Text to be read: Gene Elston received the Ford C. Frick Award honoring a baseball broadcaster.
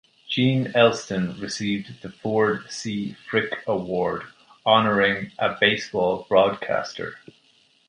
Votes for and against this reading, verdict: 2, 0, accepted